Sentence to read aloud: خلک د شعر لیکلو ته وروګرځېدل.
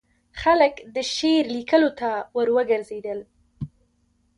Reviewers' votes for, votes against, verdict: 2, 1, accepted